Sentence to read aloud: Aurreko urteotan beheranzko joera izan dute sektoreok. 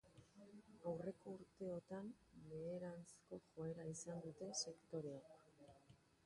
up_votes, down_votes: 0, 2